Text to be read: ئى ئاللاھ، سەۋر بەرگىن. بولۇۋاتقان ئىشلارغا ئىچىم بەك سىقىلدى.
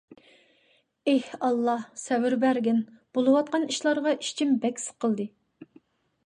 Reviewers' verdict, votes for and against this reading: accepted, 2, 0